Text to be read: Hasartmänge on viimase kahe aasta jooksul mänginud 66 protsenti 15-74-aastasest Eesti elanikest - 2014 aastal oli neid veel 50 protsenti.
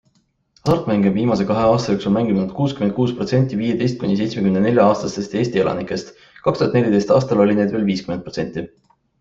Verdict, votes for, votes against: rejected, 0, 2